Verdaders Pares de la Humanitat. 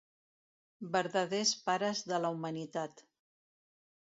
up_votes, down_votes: 2, 0